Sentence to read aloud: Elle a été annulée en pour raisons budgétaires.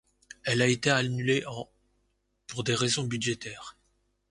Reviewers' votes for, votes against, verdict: 0, 2, rejected